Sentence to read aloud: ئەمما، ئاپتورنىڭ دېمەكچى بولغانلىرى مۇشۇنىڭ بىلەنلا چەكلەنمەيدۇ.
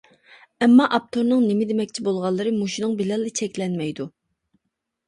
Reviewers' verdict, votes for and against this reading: rejected, 1, 2